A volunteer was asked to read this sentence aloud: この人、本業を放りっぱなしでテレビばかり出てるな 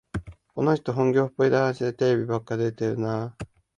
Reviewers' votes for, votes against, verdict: 0, 2, rejected